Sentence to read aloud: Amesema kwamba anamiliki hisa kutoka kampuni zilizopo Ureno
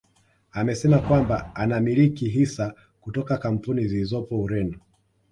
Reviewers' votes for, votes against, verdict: 2, 0, accepted